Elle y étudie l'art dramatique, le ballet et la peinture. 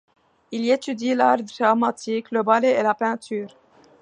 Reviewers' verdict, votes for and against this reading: rejected, 0, 2